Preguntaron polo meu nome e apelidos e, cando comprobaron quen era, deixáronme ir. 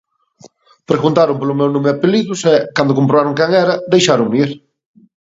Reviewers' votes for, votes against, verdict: 2, 0, accepted